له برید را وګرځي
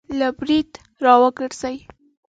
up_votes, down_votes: 2, 0